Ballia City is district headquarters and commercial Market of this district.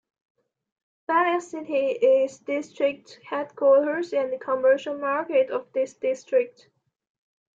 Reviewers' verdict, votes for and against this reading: rejected, 0, 2